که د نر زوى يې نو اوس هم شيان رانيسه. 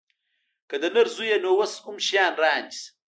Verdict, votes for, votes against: rejected, 1, 2